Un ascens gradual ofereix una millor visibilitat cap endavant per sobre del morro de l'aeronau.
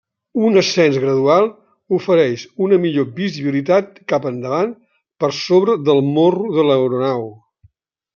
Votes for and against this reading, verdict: 3, 0, accepted